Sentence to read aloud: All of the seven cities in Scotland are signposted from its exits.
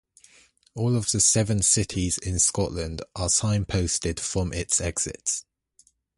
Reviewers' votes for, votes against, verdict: 2, 0, accepted